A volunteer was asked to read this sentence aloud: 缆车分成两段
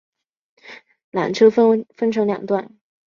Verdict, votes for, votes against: rejected, 2, 3